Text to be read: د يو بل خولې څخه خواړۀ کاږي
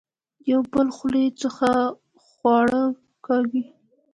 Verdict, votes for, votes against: accepted, 2, 1